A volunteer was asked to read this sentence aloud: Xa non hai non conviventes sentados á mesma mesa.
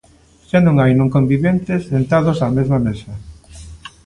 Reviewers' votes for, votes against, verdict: 2, 0, accepted